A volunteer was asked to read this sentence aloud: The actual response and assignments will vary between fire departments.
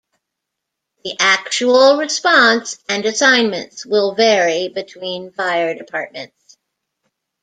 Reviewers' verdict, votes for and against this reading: accepted, 2, 0